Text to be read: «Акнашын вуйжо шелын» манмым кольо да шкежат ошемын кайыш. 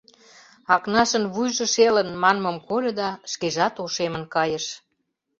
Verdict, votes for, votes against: accepted, 2, 0